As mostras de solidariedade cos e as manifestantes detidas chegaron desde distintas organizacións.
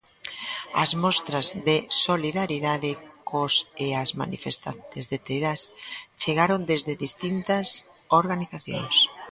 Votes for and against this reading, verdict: 1, 2, rejected